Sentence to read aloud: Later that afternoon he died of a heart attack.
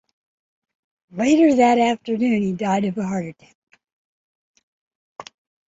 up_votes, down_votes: 1, 2